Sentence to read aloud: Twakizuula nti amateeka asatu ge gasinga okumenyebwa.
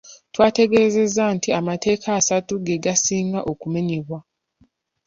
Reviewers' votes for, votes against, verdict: 1, 2, rejected